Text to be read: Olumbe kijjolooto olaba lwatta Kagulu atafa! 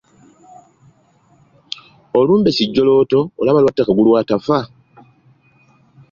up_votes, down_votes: 2, 0